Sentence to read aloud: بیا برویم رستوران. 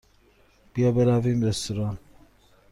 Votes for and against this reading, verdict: 2, 0, accepted